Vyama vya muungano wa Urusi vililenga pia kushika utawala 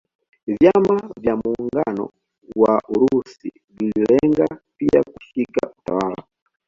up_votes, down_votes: 0, 2